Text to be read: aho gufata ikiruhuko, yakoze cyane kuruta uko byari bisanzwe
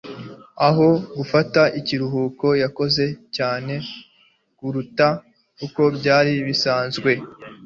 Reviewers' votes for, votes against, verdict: 3, 0, accepted